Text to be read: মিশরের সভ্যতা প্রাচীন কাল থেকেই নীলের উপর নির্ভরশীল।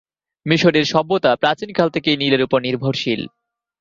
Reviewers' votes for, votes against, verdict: 2, 0, accepted